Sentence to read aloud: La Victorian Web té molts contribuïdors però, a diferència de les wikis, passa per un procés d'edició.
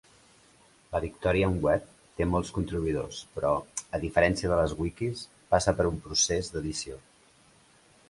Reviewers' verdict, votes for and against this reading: rejected, 1, 2